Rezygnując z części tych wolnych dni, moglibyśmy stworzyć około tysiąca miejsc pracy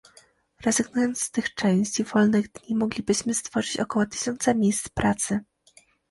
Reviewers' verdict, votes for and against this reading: rejected, 1, 2